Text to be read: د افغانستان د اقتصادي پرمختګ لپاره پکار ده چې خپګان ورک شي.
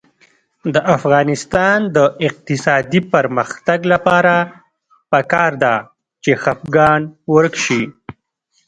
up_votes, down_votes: 3, 1